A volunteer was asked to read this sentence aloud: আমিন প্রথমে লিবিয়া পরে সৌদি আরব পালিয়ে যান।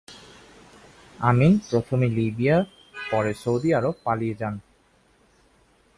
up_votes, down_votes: 3, 0